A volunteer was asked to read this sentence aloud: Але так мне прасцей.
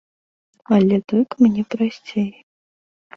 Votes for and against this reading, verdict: 2, 0, accepted